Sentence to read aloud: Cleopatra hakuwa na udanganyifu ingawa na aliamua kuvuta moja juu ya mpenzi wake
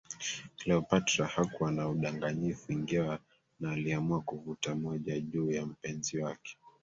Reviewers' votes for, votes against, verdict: 1, 2, rejected